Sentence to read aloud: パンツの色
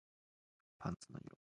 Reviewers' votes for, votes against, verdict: 0, 2, rejected